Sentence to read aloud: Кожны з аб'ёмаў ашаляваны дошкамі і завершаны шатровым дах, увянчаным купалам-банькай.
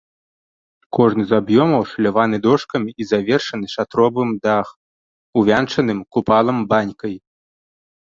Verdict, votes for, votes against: accepted, 2, 1